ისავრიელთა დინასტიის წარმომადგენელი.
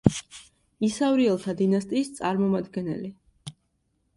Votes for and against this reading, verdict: 2, 0, accepted